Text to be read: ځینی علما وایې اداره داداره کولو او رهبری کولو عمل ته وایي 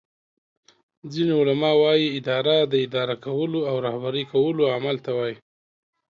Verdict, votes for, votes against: accepted, 2, 0